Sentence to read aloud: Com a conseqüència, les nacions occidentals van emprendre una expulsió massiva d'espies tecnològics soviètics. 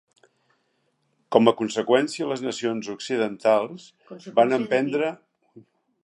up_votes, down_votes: 0, 2